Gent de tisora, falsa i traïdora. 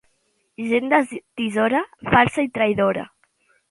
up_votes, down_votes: 2, 1